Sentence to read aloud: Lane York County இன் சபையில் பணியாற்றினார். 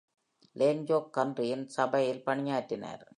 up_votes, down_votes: 2, 1